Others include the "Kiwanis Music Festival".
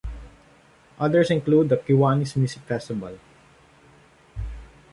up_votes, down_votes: 2, 0